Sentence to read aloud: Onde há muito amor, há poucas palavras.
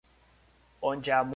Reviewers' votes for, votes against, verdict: 0, 2, rejected